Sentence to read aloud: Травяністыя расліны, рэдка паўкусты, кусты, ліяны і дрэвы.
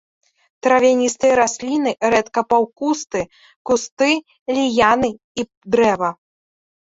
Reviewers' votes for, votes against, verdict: 0, 2, rejected